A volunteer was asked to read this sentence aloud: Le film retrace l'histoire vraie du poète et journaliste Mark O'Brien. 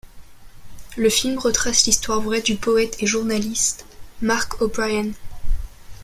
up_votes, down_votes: 2, 0